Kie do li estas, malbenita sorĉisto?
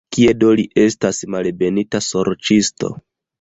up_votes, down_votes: 0, 2